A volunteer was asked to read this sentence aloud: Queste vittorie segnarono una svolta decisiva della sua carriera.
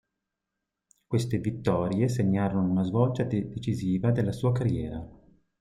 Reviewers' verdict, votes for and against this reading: rejected, 0, 2